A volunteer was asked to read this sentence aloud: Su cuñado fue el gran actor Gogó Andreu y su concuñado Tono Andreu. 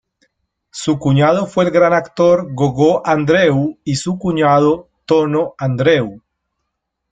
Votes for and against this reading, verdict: 0, 2, rejected